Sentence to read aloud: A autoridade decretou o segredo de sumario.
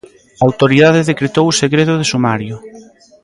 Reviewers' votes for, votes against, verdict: 1, 2, rejected